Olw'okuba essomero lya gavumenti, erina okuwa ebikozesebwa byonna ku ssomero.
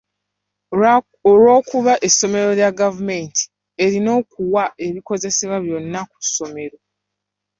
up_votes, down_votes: 2, 1